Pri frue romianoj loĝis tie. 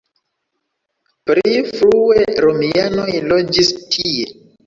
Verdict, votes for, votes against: rejected, 1, 2